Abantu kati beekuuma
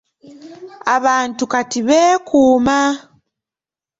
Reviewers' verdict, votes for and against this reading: accepted, 2, 0